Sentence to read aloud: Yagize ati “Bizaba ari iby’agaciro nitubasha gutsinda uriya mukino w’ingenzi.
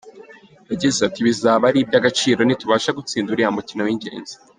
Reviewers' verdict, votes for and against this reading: accepted, 3, 0